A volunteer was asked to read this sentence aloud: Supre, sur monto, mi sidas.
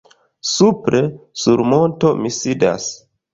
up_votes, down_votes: 3, 0